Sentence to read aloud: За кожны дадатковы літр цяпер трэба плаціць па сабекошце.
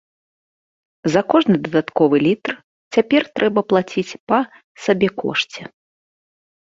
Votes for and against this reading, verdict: 2, 0, accepted